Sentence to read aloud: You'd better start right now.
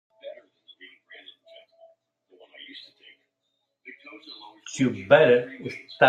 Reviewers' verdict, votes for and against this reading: rejected, 0, 2